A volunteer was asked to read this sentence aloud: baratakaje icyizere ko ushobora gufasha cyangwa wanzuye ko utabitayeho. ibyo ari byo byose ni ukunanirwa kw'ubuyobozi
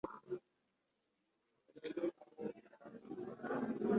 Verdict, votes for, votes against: rejected, 1, 2